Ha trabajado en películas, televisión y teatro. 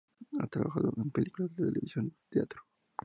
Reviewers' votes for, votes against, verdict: 0, 4, rejected